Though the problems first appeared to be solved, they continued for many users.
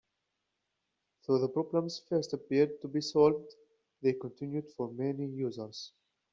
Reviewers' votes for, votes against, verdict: 2, 0, accepted